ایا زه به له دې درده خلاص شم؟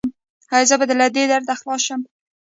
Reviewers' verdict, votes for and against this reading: rejected, 1, 2